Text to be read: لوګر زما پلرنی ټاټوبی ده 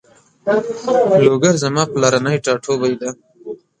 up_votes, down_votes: 2, 0